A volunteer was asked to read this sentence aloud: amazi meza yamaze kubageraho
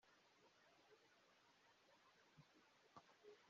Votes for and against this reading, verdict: 1, 3, rejected